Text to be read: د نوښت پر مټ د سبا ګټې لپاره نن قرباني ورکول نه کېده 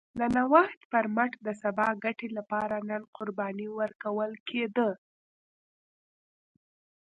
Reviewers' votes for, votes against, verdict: 2, 1, accepted